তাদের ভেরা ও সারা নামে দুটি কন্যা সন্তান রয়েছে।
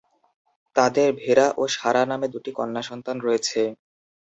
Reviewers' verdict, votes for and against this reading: accepted, 6, 0